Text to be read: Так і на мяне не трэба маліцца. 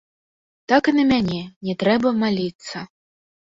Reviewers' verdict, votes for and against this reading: rejected, 1, 2